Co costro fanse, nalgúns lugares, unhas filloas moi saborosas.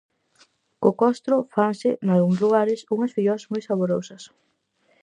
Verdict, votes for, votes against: accepted, 4, 0